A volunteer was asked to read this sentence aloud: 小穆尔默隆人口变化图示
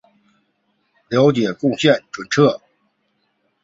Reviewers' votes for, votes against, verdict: 1, 4, rejected